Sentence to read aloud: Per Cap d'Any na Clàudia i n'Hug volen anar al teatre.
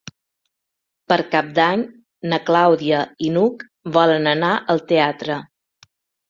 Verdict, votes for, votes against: accepted, 3, 0